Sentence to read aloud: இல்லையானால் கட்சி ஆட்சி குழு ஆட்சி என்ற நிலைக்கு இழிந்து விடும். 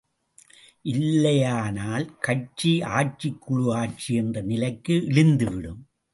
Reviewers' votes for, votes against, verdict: 2, 0, accepted